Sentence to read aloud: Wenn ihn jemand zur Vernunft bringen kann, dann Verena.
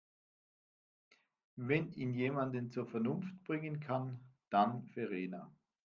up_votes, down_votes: 1, 2